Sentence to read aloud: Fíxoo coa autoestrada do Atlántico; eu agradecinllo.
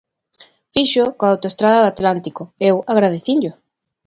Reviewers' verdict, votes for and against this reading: accepted, 2, 0